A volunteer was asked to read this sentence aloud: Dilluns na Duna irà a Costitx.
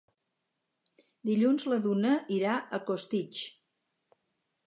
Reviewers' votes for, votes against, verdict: 0, 2, rejected